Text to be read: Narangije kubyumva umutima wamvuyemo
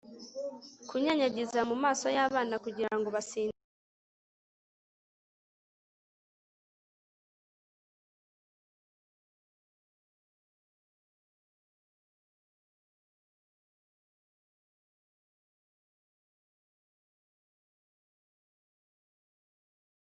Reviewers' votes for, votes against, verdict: 2, 3, rejected